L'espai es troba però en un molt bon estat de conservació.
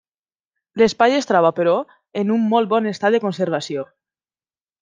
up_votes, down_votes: 3, 0